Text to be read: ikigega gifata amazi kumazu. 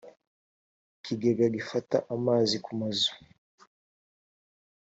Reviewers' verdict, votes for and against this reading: accepted, 2, 0